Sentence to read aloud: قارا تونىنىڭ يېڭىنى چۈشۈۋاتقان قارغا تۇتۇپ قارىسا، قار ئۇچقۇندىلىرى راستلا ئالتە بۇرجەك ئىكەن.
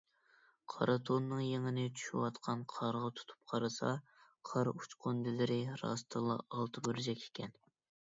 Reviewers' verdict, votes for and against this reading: accepted, 2, 1